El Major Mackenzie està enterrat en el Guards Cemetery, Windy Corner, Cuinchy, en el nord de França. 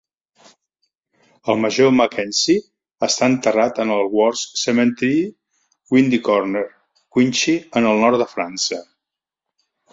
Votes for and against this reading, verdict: 3, 0, accepted